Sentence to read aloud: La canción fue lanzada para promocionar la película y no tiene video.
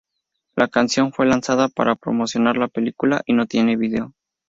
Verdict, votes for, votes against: accepted, 2, 0